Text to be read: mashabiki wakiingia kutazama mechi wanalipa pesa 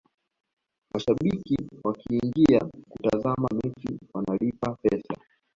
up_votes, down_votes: 0, 2